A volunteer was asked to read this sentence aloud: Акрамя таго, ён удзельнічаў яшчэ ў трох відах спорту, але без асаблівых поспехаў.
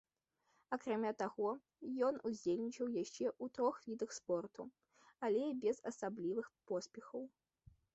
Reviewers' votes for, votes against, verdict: 1, 2, rejected